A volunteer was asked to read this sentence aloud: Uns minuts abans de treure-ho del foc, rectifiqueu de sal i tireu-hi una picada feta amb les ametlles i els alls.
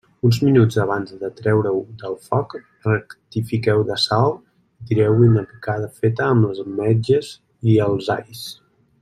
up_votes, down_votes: 0, 2